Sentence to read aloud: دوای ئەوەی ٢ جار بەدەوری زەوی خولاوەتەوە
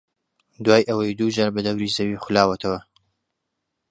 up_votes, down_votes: 0, 2